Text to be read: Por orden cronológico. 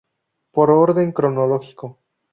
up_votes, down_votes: 0, 2